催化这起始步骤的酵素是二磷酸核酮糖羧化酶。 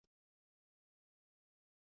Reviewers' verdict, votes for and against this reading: rejected, 0, 2